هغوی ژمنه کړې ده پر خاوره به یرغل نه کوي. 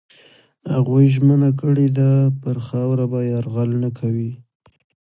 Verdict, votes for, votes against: accepted, 2, 1